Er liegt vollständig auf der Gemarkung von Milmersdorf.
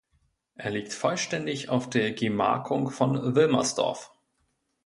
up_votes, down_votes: 0, 2